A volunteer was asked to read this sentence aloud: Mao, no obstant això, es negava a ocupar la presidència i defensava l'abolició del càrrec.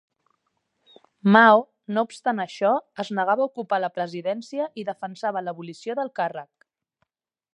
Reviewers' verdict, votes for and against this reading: accepted, 2, 0